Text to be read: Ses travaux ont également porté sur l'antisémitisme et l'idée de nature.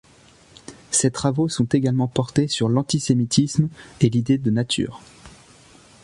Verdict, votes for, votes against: rejected, 0, 2